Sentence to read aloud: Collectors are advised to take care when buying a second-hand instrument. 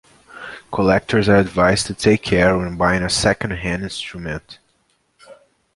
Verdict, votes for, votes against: accepted, 2, 0